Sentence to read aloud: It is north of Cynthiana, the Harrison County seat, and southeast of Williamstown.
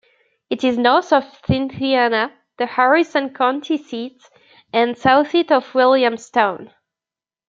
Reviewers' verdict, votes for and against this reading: rejected, 0, 2